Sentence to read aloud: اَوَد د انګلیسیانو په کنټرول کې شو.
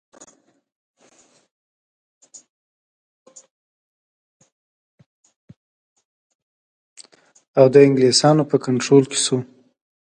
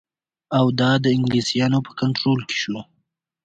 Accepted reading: second